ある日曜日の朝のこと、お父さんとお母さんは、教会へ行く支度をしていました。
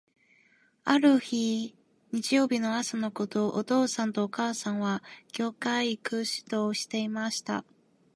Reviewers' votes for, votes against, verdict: 0, 2, rejected